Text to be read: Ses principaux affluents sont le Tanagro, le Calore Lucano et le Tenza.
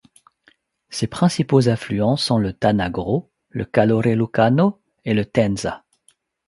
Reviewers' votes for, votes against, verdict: 2, 0, accepted